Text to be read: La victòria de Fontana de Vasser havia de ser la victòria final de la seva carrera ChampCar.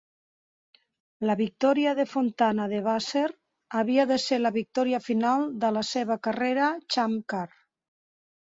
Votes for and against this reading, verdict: 2, 1, accepted